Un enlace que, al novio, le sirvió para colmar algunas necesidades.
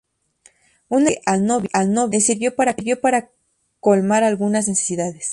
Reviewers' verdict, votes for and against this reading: rejected, 0, 2